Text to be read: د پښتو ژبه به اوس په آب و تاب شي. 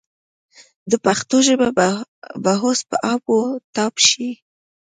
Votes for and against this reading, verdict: 2, 0, accepted